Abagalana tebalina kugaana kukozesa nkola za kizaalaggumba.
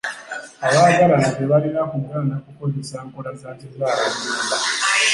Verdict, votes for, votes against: rejected, 0, 2